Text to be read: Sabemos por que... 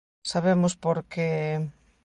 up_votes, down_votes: 2, 0